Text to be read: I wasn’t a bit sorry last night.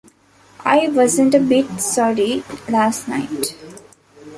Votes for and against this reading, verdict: 2, 0, accepted